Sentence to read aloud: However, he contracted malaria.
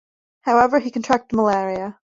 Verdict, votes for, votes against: accepted, 2, 0